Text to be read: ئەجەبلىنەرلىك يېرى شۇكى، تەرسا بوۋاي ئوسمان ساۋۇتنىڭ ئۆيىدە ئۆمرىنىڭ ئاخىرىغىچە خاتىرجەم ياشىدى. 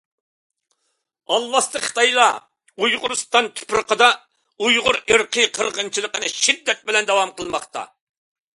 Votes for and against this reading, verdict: 0, 2, rejected